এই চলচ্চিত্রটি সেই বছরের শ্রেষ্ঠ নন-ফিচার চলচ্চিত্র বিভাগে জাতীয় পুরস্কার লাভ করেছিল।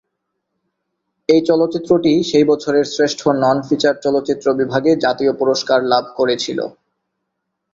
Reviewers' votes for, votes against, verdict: 14, 2, accepted